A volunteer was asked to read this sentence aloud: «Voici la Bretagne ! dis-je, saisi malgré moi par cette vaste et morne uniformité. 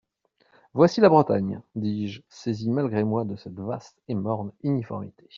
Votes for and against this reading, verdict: 0, 2, rejected